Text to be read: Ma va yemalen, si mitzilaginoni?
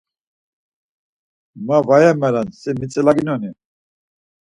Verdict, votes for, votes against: accepted, 4, 0